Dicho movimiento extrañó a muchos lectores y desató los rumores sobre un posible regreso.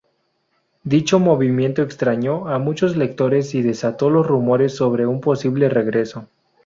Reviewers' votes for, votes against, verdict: 2, 0, accepted